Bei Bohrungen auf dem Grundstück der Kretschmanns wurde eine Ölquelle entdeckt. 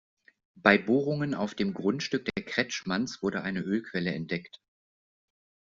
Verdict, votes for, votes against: accepted, 2, 0